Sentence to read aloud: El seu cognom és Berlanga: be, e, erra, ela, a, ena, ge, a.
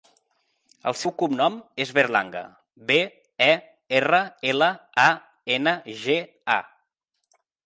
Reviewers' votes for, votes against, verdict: 4, 0, accepted